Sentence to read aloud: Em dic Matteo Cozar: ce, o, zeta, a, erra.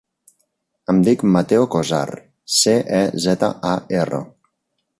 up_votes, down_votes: 0, 2